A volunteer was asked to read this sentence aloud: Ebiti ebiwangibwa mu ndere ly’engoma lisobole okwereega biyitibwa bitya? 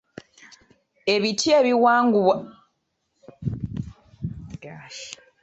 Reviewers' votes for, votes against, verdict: 1, 2, rejected